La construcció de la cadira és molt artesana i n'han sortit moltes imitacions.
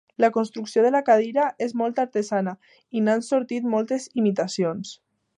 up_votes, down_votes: 2, 0